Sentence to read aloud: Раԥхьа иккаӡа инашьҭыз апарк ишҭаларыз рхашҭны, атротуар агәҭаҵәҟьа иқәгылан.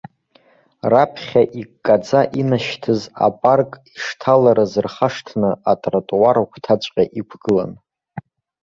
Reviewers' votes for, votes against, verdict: 2, 0, accepted